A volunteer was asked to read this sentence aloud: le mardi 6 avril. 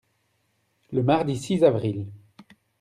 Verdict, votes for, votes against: rejected, 0, 2